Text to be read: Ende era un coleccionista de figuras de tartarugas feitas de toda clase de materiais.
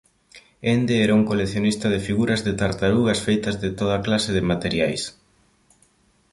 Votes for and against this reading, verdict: 2, 0, accepted